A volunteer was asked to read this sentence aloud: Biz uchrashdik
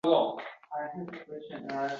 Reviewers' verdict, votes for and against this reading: rejected, 0, 2